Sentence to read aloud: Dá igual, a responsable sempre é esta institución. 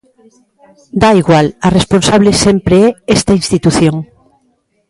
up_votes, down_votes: 2, 0